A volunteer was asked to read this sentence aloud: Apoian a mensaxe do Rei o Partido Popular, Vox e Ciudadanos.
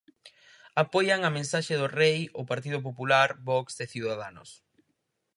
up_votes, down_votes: 4, 0